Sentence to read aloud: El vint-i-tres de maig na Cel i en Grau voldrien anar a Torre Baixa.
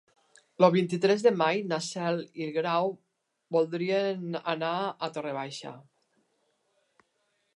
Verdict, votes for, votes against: rejected, 0, 3